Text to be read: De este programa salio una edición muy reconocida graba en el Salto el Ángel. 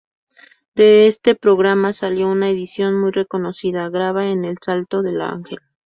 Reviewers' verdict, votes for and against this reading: rejected, 0, 2